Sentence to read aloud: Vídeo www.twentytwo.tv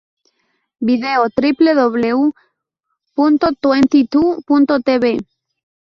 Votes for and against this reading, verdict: 2, 2, rejected